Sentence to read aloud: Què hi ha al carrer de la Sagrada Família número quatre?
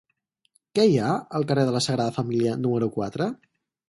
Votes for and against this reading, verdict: 4, 0, accepted